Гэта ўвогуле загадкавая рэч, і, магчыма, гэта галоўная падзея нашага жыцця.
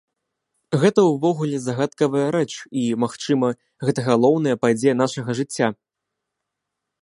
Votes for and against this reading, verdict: 2, 0, accepted